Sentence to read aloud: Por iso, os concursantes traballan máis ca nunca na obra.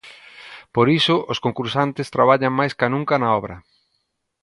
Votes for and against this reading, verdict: 2, 0, accepted